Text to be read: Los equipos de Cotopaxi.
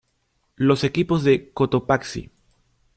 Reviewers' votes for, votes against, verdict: 2, 0, accepted